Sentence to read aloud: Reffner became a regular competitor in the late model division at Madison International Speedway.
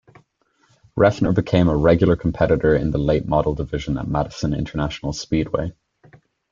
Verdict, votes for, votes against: accepted, 2, 0